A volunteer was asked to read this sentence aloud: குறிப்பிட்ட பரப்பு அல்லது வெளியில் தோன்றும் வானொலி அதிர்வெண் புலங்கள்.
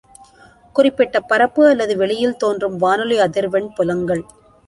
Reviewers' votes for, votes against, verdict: 3, 0, accepted